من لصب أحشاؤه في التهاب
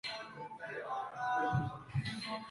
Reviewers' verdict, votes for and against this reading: rejected, 0, 2